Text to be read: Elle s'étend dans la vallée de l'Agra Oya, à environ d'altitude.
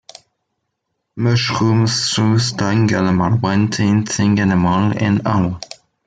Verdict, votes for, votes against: rejected, 0, 2